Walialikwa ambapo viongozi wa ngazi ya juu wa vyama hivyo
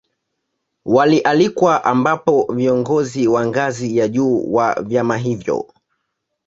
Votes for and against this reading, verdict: 0, 2, rejected